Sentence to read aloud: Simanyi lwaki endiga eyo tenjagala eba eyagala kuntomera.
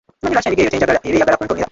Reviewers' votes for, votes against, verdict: 0, 2, rejected